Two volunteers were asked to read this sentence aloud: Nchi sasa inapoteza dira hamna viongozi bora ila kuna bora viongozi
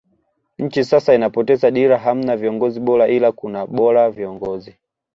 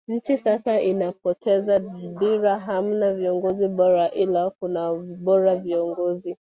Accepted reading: first